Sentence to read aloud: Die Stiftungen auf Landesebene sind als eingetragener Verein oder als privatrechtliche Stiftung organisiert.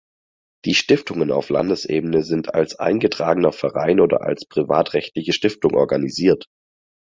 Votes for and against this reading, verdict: 4, 0, accepted